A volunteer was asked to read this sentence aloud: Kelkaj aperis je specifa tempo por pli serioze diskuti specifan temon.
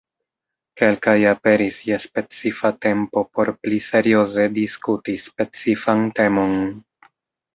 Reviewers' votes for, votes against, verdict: 1, 2, rejected